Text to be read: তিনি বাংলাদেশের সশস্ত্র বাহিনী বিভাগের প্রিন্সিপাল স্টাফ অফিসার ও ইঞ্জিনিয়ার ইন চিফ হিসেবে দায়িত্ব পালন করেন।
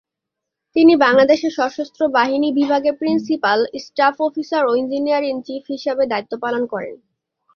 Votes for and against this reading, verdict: 2, 0, accepted